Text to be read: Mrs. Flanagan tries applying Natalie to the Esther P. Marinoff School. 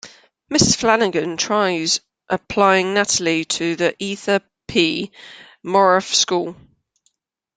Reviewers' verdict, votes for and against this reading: rejected, 0, 2